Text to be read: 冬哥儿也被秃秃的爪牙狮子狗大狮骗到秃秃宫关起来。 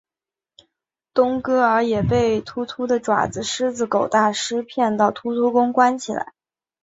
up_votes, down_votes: 2, 1